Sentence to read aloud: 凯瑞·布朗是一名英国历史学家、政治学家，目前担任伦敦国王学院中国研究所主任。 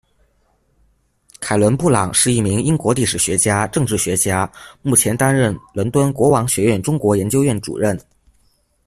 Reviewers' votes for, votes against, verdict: 1, 2, rejected